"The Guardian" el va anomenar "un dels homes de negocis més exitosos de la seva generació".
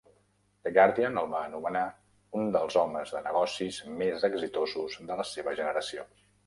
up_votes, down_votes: 1, 2